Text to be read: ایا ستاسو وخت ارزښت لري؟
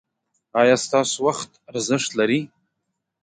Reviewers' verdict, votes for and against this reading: accepted, 2, 0